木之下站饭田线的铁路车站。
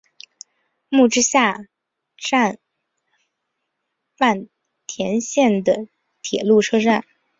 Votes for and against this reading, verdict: 0, 2, rejected